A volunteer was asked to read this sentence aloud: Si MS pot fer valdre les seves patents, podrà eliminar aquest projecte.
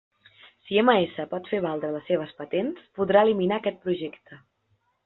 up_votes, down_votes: 2, 0